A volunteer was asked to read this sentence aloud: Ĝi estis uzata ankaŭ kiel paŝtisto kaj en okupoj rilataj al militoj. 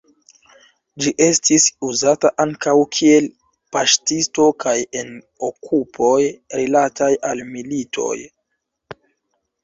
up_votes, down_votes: 2, 0